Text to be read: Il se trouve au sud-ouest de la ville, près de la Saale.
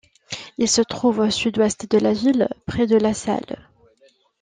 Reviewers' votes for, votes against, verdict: 2, 0, accepted